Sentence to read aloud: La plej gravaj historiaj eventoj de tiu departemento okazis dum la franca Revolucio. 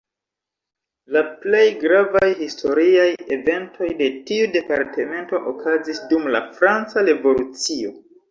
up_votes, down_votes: 2, 1